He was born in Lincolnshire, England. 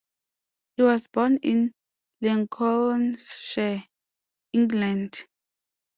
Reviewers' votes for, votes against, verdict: 0, 2, rejected